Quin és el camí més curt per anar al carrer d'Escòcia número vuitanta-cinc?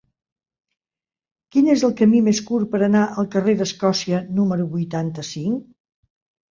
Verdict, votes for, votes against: accepted, 3, 0